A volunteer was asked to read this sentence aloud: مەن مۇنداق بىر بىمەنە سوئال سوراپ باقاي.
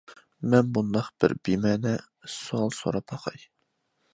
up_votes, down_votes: 2, 0